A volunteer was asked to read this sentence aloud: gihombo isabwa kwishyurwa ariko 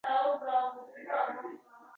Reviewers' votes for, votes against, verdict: 0, 2, rejected